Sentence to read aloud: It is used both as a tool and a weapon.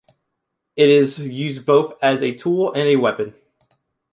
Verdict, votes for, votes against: accepted, 2, 0